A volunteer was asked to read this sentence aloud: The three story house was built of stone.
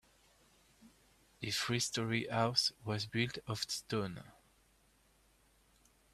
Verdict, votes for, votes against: rejected, 0, 2